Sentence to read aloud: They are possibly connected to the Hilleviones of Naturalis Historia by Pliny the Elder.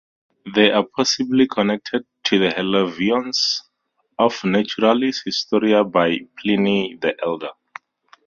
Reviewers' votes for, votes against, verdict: 4, 0, accepted